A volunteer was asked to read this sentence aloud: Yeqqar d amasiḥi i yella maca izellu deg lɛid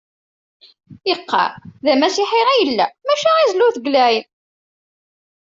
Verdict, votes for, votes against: accepted, 2, 0